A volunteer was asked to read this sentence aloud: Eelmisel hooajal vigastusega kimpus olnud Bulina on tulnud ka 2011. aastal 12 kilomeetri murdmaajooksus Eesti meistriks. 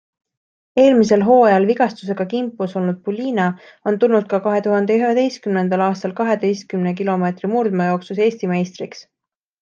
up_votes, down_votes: 0, 2